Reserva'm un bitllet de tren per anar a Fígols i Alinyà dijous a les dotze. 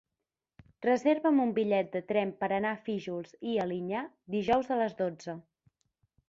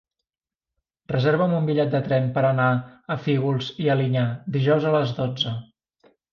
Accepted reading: second